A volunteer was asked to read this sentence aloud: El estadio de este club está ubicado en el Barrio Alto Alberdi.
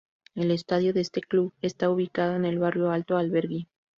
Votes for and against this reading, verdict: 0, 2, rejected